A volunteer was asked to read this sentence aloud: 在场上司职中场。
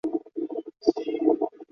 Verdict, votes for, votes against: rejected, 3, 4